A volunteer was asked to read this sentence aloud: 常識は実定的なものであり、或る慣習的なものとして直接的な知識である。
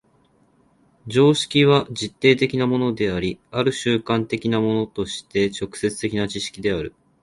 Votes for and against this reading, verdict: 5, 1, accepted